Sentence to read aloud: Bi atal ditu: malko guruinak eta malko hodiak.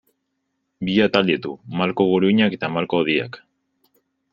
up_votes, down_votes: 3, 0